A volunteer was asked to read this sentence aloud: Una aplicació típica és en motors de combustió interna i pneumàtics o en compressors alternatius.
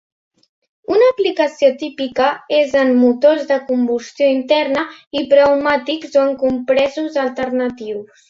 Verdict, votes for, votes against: rejected, 0, 2